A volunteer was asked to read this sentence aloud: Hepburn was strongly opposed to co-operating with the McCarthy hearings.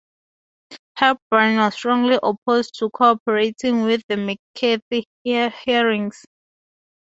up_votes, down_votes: 2, 2